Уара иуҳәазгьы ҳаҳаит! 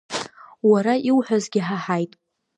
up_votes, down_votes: 2, 0